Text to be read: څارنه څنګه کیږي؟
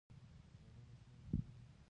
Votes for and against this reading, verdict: 0, 3, rejected